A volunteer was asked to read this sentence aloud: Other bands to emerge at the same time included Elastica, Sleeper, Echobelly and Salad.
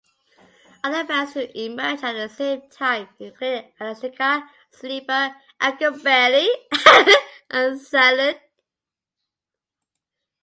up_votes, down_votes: 0, 2